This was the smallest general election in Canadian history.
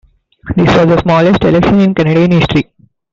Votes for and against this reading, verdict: 1, 2, rejected